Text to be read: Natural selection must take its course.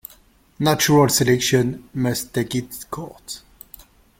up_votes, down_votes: 0, 2